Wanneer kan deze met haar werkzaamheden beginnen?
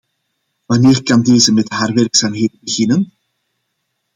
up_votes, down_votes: 2, 0